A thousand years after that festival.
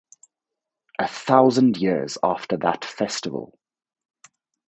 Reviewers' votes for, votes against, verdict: 2, 2, rejected